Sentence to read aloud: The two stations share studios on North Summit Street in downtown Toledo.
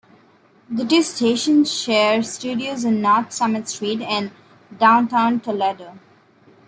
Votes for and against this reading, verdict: 1, 2, rejected